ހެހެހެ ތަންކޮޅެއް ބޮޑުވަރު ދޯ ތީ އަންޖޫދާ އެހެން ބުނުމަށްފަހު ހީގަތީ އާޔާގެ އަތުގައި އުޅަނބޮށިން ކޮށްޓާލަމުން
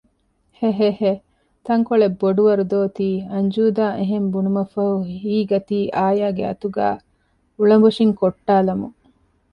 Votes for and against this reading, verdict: 2, 0, accepted